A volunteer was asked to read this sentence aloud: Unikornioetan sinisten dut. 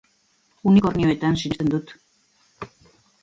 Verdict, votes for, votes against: accepted, 3, 1